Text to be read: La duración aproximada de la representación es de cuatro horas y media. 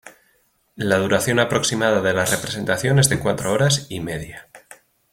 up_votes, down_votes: 2, 0